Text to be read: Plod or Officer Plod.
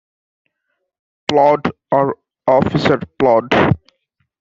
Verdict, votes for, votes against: accepted, 2, 0